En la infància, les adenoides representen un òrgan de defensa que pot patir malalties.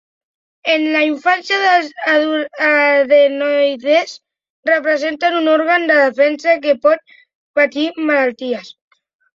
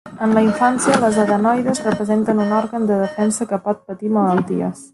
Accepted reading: second